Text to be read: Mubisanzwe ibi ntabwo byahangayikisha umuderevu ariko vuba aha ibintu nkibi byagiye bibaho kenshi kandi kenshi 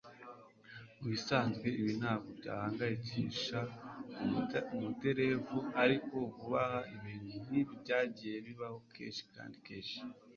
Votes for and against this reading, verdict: 2, 1, accepted